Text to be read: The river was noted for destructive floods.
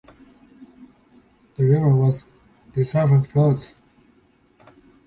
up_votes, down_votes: 0, 2